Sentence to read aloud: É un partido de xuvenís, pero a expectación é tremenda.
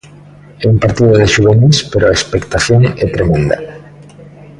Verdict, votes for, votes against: rejected, 1, 2